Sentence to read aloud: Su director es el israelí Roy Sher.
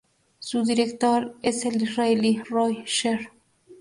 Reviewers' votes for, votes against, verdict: 4, 0, accepted